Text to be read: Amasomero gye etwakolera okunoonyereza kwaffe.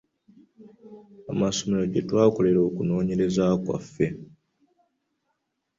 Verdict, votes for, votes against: accepted, 2, 0